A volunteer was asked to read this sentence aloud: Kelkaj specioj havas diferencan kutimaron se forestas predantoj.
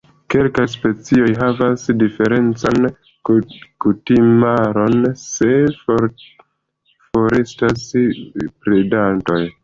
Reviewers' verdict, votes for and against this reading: accepted, 2, 1